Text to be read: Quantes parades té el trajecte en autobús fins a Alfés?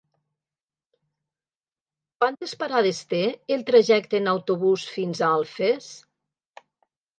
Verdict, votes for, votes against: accepted, 2, 0